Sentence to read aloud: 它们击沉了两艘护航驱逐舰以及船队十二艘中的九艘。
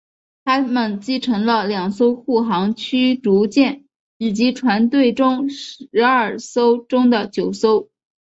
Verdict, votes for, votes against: rejected, 2, 3